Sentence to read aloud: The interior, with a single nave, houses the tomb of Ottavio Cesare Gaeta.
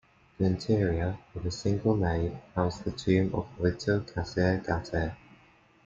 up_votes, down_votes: 2, 0